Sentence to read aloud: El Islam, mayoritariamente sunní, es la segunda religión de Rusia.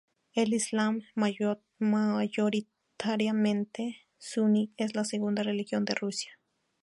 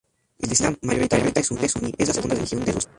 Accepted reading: first